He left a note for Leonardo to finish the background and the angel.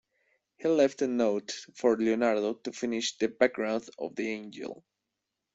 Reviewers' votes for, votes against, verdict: 0, 2, rejected